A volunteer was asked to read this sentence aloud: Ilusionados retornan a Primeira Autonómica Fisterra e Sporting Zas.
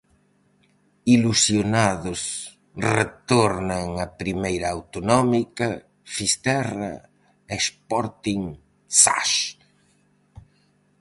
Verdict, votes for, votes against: accepted, 4, 0